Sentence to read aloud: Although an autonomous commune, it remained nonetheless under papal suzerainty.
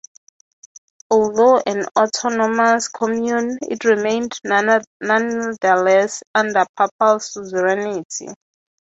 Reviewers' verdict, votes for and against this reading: rejected, 0, 6